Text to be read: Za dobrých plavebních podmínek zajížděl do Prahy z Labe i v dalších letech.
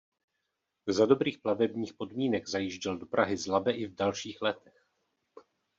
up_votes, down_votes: 1, 2